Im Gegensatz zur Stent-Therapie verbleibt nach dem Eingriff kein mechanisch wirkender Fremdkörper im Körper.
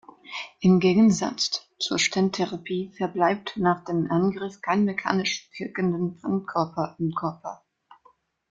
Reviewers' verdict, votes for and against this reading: accepted, 2, 0